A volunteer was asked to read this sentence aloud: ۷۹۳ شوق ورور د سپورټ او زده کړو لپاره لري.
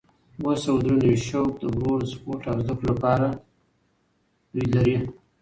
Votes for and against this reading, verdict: 0, 2, rejected